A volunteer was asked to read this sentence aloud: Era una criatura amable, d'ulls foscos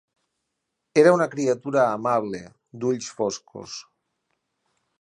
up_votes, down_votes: 6, 0